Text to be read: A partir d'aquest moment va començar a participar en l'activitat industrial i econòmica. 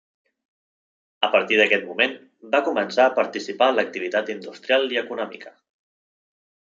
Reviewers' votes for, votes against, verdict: 3, 0, accepted